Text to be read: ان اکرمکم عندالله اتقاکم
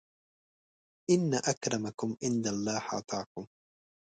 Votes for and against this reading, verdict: 0, 2, rejected